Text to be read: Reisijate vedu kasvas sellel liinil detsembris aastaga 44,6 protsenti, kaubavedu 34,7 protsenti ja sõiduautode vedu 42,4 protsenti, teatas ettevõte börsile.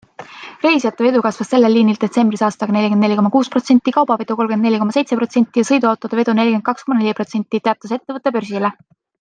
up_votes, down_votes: 0, 2